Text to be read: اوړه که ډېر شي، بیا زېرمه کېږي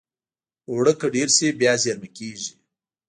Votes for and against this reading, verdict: 0, 2, rejected